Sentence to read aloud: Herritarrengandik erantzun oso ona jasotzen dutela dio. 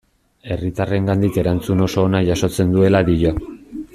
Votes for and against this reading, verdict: 0, 2, rejected